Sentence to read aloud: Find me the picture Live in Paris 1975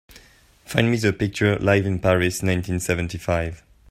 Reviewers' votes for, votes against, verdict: 0, 2, rejected